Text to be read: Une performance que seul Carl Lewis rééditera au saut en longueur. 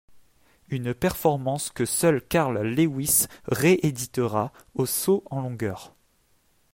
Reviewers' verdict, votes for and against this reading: accepted, 2, 1